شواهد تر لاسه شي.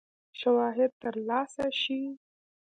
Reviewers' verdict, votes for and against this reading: accepted, 2, 0